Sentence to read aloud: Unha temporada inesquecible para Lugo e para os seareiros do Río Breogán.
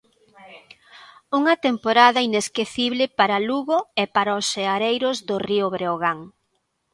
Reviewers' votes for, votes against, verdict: 2, 0, accepted